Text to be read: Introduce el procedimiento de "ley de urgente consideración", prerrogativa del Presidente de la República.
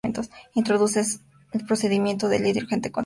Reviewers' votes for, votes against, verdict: 0, 4, rejected